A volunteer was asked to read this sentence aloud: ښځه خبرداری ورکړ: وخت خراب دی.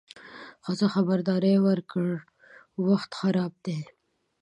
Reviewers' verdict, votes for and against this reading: accepted, 2, 0